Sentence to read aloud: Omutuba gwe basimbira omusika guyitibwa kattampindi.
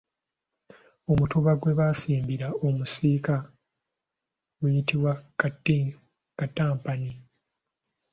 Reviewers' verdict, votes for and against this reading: rejected, 1, 2